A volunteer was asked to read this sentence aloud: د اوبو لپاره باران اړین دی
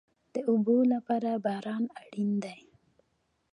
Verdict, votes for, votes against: rejected, 1, 2